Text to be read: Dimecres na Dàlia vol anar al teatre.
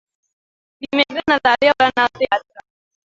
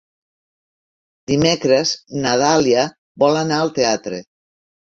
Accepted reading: second